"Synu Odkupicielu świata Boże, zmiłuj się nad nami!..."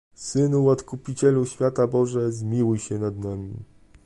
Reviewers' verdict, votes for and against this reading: accepted, 2, 0